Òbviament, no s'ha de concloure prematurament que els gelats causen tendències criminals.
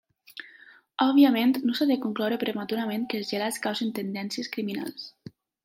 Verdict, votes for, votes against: rejected, 0, 2